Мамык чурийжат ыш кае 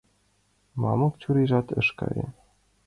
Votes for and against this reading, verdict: 2, 0, accepted